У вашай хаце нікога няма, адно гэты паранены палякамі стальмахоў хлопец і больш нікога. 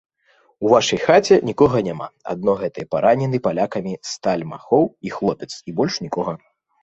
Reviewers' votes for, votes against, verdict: 0, 2, rejected